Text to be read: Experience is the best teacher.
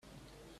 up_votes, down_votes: 0, 2